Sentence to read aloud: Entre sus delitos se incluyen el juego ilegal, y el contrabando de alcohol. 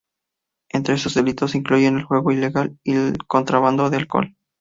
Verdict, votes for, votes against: accepted, 4, 0